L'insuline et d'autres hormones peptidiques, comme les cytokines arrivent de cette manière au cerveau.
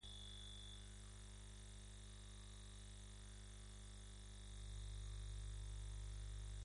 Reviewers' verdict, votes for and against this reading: rejected, 0, 2